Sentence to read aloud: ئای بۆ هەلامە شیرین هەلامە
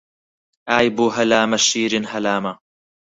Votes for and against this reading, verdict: 4, 0, accepted